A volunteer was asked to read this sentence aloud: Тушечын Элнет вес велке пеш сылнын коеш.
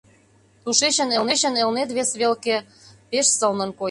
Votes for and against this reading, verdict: 0, 2, rejected